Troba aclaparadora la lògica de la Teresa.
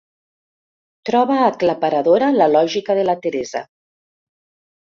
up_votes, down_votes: 2, 0